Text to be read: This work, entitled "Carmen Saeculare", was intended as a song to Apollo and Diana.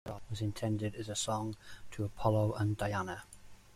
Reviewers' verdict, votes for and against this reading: rejected, 0, 2